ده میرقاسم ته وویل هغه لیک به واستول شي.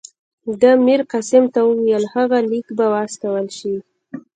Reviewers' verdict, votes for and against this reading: accepted, 2, 0